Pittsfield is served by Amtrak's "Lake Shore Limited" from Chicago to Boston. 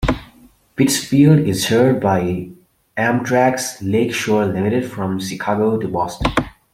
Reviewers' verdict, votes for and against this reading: rejected, 0, 2